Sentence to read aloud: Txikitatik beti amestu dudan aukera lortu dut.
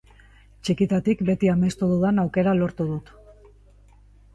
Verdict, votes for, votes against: accepted, 5, 1